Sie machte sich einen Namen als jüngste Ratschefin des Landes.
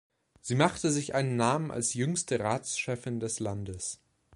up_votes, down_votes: 2, 0